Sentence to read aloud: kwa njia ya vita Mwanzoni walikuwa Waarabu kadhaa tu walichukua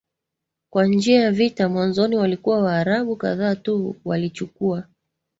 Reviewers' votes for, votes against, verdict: 2, 0, accepted